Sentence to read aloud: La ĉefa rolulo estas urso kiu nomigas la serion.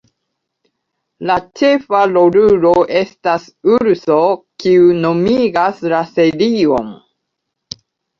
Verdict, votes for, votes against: rejected, 0, 2